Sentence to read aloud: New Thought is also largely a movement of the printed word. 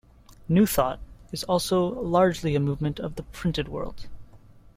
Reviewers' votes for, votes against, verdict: 1, 2, rejected